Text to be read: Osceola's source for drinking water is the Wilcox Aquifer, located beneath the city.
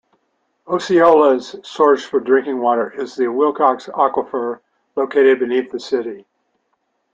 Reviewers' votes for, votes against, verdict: 2, 1, accepted